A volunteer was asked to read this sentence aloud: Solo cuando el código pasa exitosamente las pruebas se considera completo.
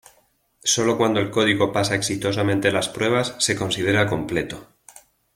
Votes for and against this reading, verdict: 2, 0, accepted